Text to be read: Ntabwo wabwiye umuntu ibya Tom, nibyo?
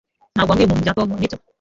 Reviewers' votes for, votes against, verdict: 1, 2, rejected